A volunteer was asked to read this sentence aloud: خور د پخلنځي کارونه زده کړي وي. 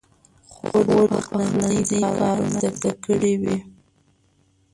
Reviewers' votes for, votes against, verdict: 0, 2, rejected